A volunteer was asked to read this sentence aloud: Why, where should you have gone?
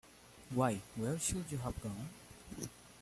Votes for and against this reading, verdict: 0, 2, rejected